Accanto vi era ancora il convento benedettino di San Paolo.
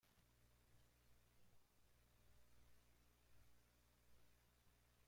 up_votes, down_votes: 0, 2